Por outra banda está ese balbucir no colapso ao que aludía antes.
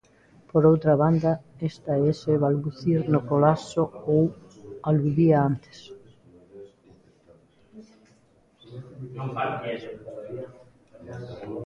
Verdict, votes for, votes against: rejected, 0, 2